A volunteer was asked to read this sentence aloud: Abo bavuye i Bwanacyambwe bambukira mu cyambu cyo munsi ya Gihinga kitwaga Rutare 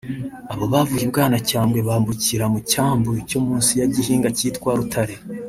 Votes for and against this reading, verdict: 0, 2, rejected